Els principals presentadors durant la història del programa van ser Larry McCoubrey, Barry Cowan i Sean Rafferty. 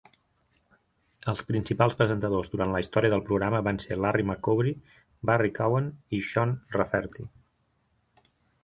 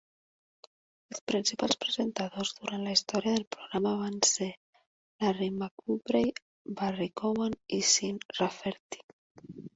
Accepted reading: first